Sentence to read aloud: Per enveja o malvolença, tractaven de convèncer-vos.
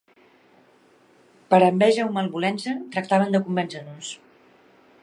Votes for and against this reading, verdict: 0, 2, rejected